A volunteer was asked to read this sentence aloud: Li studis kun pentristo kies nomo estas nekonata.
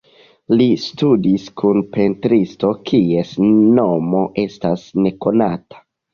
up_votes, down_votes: 2, 0